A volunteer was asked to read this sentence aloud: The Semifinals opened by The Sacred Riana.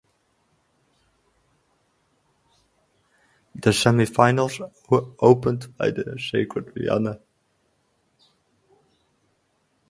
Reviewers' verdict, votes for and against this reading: rejected, 0, 4